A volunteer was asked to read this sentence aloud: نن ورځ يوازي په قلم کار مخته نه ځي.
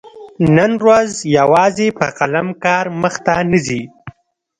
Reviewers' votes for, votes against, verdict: 2, 0, accepted